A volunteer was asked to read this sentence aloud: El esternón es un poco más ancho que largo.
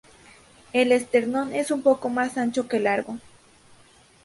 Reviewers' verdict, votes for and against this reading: rejected, 2, 2